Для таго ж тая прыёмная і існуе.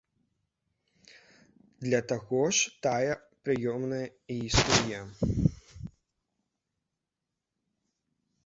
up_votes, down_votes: 1, 2